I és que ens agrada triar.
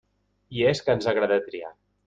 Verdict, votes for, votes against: rejected, 1, 2